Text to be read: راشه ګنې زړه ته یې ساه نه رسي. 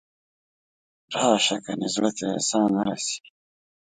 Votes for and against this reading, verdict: 1, 2, rejected